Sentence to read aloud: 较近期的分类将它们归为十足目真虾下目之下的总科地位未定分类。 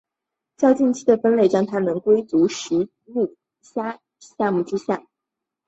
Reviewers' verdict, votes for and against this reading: accepted, 3, 0